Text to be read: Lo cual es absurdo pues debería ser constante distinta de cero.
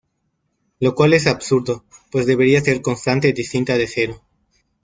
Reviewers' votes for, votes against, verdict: 1, 2, rejected